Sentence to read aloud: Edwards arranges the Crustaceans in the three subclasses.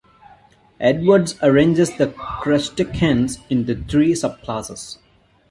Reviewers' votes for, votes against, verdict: 0, 2, rejected